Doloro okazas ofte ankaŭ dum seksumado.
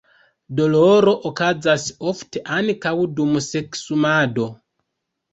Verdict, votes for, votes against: rejected, 1, 2